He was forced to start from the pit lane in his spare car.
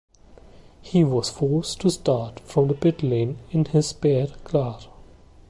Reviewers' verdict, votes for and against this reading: accepted, 2, 0